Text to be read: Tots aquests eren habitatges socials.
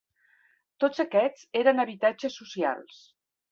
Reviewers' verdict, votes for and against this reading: accepted, 3, 0